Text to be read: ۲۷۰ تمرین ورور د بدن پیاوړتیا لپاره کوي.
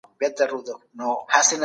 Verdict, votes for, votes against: rejected, 0, 2